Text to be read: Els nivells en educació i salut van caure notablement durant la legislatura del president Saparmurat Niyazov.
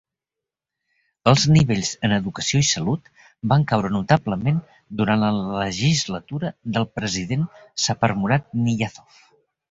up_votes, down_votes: 2, 0